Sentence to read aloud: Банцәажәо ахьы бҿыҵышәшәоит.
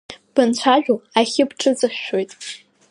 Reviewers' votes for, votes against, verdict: 2, 1, accepted